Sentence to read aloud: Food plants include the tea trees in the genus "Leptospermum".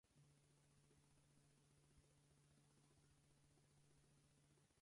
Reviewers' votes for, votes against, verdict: 0, 4, rejected